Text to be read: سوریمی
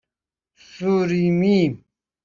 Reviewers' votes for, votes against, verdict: 2, 0, accepted